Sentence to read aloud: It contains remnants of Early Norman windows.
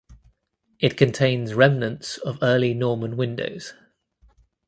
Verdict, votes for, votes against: accepted, 2, 0